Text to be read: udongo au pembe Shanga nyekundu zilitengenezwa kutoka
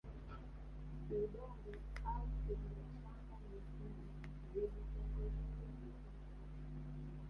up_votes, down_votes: 1, 2